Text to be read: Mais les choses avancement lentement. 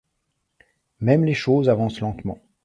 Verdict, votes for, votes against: rejected, 1, 2